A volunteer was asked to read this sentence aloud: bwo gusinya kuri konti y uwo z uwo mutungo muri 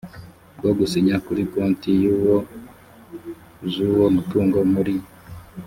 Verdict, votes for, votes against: rejected, 1, 2